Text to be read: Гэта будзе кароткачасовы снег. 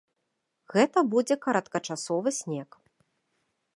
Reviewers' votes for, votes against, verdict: 1, 2, rejected